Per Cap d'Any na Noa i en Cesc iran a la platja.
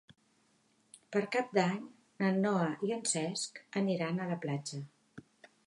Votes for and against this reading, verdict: 0, 2, rejected